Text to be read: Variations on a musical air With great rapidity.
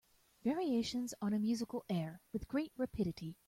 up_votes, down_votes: 2, 1